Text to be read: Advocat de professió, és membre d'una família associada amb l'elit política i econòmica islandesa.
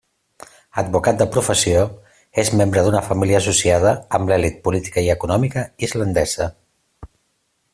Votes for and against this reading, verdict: 3, 0, accepted